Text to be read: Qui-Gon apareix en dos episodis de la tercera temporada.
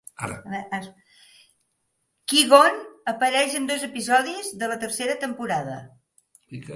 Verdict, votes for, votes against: rejected, 0, 2